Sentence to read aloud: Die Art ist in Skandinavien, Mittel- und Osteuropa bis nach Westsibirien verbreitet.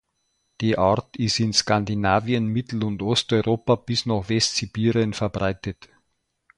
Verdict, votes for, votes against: accepted, 2, 1